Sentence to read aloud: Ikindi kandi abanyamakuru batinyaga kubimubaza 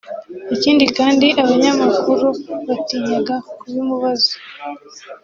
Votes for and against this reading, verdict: 2, 0, accepted